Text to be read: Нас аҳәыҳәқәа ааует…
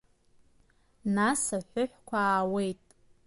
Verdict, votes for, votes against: rejected, 1, 2